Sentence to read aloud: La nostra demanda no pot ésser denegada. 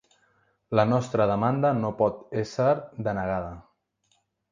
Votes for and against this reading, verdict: 3, 0, accepted